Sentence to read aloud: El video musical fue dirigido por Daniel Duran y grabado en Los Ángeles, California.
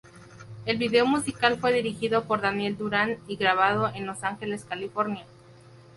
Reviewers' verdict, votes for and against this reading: accepted, 2, 0